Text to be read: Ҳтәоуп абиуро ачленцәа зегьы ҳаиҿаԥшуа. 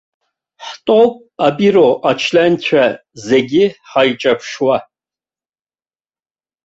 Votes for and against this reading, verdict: 1, 2, rejected